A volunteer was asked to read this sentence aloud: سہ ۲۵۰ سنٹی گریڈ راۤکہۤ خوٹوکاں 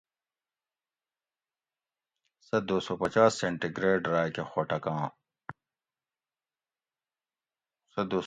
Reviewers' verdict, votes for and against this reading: rejected, 0, 2